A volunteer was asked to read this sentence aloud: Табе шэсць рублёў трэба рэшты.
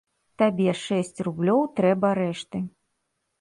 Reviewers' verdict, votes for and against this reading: accepted, 2, 0